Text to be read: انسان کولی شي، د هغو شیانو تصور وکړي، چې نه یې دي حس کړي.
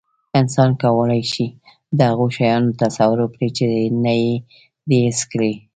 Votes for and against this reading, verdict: 2, 3, rejected